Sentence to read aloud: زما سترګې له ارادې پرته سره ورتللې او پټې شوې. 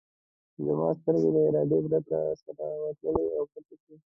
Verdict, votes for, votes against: rejected, 1, 2